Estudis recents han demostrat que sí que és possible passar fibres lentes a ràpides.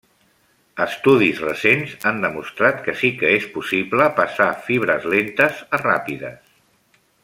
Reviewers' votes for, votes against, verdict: 3, 0, accepted